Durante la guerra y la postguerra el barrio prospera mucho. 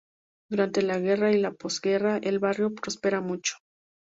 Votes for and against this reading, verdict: 2, 0, accepted